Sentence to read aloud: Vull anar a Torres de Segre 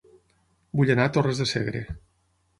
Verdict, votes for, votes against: accepted, 12, 0